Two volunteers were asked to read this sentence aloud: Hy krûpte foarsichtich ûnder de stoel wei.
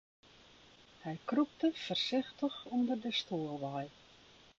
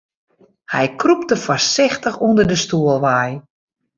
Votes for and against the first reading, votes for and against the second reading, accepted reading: 1, 2, 2, 0, second